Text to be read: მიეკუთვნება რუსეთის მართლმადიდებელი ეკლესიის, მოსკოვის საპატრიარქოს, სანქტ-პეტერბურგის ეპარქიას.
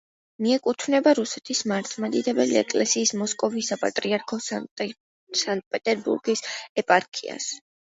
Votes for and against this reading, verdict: 1, 2, rejected